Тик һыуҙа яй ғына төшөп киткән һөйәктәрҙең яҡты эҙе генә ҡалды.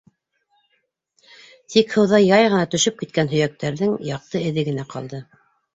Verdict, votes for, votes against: accepted, 2, 0